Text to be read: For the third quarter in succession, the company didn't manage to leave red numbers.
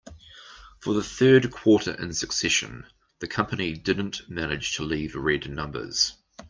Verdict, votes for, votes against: accepted, 2, 1